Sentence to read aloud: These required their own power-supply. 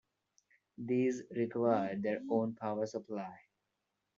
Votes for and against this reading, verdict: 2, 1, accepted